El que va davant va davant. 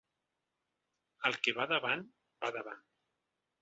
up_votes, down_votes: 3, 0